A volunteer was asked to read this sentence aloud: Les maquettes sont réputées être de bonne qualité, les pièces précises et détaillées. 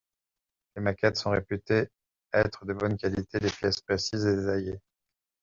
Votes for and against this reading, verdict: 1, 2, rejected